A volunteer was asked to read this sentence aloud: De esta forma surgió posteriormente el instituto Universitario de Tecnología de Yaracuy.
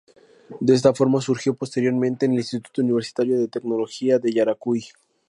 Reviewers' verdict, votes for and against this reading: accepted, 2, 0